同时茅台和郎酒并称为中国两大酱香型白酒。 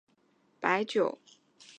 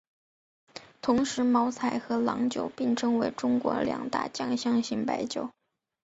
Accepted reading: second